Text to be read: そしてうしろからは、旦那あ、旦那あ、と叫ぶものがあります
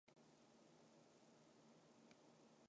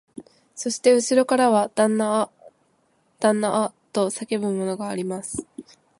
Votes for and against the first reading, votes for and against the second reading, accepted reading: 0, 3, 2, 0, second